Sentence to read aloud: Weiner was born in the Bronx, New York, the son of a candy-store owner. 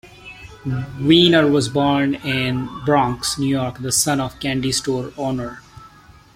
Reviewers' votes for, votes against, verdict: 0, 2, rejected